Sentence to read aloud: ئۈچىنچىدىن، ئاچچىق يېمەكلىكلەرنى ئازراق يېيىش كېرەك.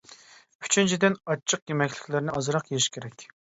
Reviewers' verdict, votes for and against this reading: accepted, 2, 0